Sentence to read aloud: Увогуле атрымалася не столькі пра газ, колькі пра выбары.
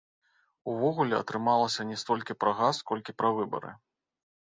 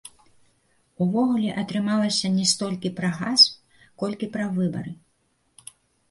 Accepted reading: first